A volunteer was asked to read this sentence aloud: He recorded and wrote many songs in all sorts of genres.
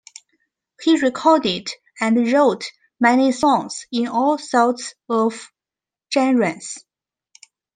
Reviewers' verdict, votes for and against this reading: accepted, 2, 0